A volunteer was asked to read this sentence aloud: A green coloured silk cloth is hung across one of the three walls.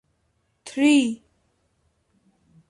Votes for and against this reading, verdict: 0, 2, rejected